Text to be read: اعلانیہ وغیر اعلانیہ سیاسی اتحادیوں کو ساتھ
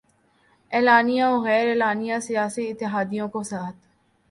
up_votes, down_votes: 3, 0